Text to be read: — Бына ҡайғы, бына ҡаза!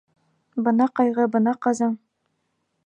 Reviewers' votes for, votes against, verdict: 1, 2, rejected